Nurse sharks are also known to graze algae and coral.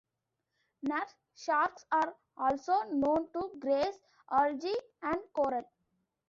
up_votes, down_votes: 2, 0